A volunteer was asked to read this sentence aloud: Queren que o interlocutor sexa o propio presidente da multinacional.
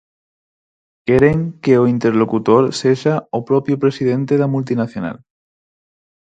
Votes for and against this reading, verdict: 4, 0, accepted